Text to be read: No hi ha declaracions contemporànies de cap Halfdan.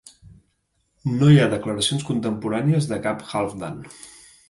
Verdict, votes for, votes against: accepted, 2, 1